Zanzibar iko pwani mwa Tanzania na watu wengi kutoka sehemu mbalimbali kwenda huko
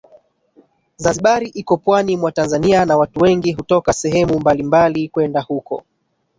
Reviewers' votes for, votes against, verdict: 1, 2, rejected